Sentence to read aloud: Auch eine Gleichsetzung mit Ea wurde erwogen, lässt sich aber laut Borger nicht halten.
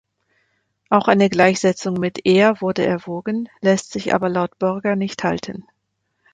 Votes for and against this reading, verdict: 2, 0, accepted